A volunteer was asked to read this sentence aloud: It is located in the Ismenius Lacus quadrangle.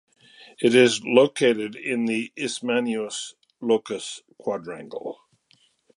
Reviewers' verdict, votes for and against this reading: rejected, 1, 2